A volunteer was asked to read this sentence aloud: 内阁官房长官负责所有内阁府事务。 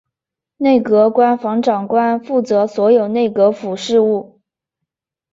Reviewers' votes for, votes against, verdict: 2, 1, accepted